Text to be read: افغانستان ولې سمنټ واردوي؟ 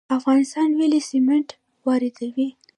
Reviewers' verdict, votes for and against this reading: accepted, 2, 1